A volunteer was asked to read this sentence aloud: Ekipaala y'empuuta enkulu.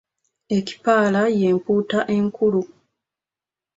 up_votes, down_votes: 3, 0